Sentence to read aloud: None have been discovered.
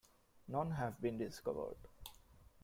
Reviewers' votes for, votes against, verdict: 2, 1, accepted